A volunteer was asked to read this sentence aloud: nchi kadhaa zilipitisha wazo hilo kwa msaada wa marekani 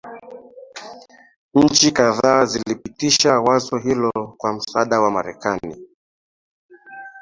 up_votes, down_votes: 2, 1